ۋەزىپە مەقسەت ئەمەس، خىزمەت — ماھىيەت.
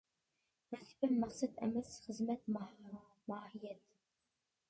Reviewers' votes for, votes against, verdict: 0, 2, rejected